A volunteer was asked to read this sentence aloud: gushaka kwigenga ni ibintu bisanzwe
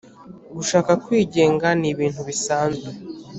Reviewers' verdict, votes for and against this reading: accepted, 3, 0